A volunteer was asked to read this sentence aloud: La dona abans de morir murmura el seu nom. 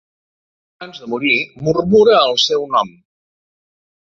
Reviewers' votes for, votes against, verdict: 0, 2, rejected